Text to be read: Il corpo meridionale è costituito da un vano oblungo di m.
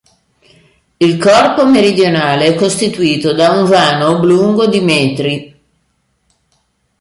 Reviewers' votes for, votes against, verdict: 1, 2, rejected